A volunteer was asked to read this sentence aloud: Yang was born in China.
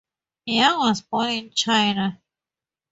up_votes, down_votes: 2, 0